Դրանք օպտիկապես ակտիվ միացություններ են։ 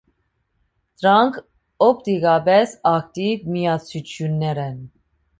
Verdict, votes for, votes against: rejected, 1, 2